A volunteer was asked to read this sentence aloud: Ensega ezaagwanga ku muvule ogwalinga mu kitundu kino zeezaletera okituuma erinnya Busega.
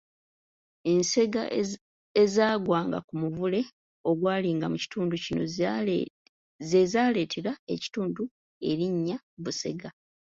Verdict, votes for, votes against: rejected, 1, 2